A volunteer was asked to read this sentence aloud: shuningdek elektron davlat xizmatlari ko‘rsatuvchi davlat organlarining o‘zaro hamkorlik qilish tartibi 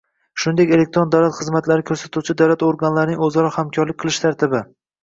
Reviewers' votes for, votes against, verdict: 0, 2, rejected